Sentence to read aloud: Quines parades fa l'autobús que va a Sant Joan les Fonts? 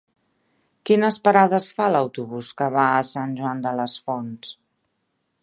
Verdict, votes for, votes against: rejected, 0, 2